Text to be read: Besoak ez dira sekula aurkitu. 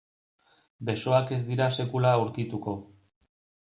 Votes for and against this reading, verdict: 0, 2, rejected